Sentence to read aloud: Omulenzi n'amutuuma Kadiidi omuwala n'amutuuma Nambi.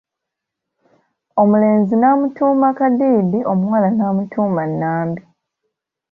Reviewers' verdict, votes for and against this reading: accepted, 2, 0